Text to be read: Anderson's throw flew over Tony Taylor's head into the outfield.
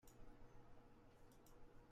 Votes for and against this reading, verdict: 0, 2, rejected